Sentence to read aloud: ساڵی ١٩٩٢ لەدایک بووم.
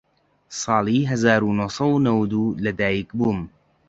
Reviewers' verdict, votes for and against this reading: rejected, 0, 2